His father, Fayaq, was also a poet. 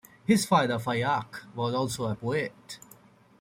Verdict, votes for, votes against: accepted, 2, 0